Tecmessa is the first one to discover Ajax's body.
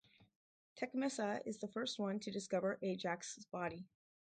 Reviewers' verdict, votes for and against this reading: accepted, 2, 0